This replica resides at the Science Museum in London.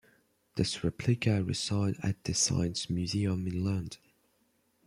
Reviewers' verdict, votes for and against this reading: accepted, 2, 0